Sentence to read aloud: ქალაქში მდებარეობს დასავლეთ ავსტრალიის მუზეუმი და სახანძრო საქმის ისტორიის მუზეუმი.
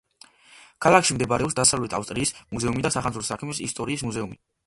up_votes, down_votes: 1, 2